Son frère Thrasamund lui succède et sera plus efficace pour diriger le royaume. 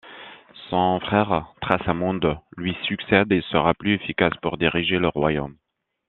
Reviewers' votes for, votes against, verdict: 2, 0, accepted